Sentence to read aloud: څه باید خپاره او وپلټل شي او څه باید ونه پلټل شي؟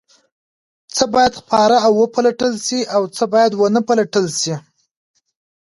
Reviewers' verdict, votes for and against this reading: accepted, 2, 1